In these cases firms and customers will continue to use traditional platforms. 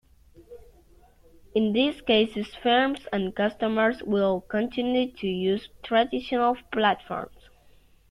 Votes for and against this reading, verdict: 2, 0, accepted